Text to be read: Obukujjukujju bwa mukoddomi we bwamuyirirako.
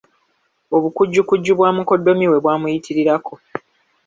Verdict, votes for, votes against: accepted, 2, 0